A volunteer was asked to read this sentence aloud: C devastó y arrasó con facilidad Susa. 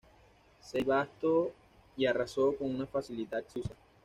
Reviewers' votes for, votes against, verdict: 1, 2, rejected